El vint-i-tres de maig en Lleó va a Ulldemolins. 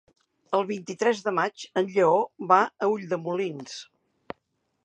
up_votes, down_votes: 4, 0